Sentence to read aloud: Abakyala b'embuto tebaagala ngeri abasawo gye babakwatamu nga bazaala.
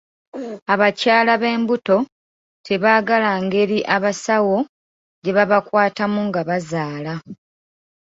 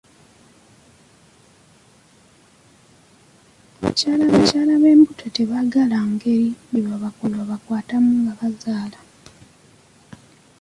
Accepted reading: first